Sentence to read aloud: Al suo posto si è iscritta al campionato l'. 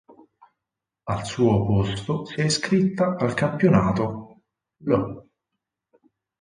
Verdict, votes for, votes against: accepted, 4, 2